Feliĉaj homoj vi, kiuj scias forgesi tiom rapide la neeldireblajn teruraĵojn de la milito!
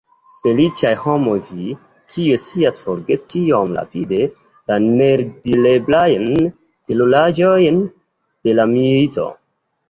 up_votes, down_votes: 2, 0